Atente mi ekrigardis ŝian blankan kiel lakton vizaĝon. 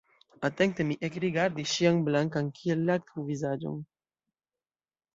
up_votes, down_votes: 1, 2